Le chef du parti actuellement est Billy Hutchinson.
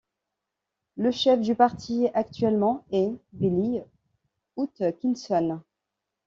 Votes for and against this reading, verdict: 0, 2, rejected